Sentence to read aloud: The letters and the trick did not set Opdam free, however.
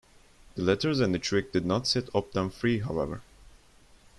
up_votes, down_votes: 2, 0